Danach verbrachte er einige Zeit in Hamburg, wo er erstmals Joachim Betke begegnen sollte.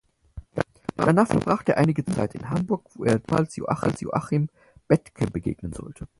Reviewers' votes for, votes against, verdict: 0, 4, rejected